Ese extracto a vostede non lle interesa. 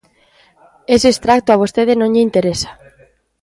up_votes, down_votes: 1, 2